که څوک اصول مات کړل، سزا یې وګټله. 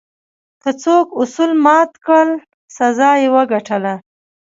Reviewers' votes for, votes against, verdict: 2, 1, accepted